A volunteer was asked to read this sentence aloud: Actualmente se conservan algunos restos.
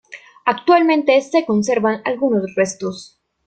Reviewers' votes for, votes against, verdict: 2, 0, accepted